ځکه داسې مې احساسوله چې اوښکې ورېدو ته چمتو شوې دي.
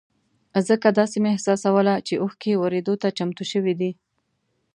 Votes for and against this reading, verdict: 2, 0, accepted